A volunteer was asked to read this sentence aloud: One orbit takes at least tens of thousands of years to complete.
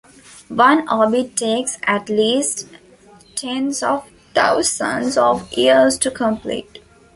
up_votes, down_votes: 2, 0